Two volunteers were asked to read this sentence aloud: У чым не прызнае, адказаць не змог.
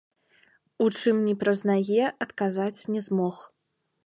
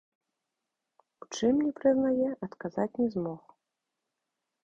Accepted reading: second